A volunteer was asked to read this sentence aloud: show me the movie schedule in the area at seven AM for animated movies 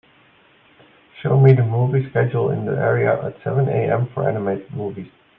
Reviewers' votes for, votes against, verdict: 2, 0, accepted